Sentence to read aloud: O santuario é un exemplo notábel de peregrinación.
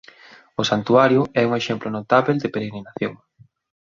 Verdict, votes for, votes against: accepted, 2, 0